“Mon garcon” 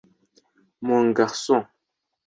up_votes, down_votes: 2, 0